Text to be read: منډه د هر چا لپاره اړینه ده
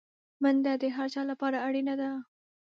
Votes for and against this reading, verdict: 2, 0, accepted